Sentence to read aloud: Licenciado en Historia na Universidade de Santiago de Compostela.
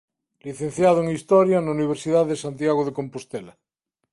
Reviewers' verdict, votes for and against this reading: accepted, 2, 0